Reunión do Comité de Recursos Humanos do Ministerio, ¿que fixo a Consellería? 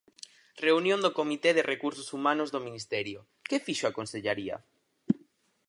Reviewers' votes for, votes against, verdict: 0, 4, rejected